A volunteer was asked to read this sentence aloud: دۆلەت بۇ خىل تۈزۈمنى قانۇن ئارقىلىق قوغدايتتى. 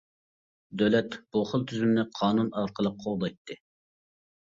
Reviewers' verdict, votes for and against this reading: accepted, 2, 0